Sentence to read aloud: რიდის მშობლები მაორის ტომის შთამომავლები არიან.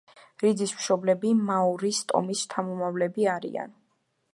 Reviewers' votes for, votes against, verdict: 2, 0, accepted